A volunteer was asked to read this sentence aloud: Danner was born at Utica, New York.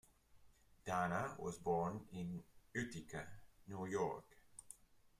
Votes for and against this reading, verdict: 1, 2, rejected